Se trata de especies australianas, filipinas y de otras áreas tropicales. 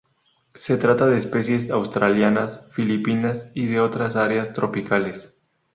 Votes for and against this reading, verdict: 2, 0, accepted